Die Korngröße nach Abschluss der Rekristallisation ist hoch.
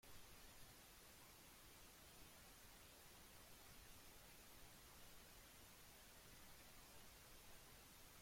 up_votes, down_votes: 0, 2